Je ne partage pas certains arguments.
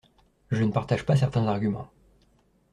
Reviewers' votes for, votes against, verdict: 2, 0, accepted